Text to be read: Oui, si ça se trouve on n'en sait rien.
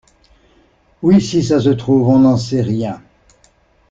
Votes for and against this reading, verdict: 2, 0, accepted